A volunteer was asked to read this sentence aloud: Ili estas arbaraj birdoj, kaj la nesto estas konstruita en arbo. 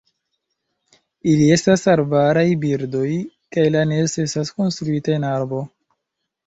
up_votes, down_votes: 0, 2